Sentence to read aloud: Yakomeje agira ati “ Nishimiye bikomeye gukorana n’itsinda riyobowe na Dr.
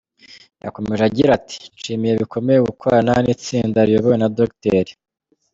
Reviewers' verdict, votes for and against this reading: accepted, 2, 1